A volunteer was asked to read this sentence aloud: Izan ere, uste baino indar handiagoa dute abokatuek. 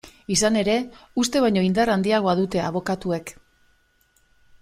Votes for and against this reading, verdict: 2, 0, accepted